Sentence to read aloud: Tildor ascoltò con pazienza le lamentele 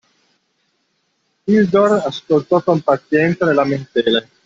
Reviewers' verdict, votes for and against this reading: rejected, 0, 2